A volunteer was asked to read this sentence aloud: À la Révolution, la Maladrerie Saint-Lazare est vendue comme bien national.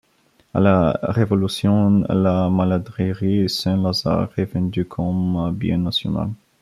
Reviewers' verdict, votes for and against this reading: rejected, 0, 2